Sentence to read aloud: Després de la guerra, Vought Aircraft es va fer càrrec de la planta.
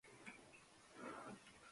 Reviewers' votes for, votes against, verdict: 0, 2, rejected